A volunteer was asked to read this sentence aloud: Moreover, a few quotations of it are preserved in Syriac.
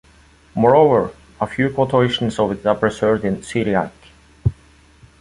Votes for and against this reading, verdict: 1, 2, rejected